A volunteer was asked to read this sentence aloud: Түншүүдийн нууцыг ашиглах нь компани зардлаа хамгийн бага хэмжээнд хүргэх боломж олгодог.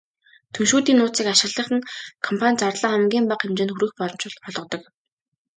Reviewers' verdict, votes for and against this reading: rejected, 0, 2